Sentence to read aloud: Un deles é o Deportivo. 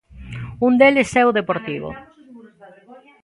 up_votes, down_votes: 1, 2